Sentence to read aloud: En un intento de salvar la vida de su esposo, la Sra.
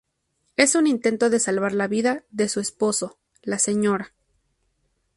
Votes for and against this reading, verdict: 0, 2, rejected